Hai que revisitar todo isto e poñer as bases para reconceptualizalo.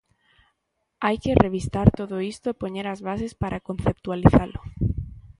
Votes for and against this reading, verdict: 0, 2, rejected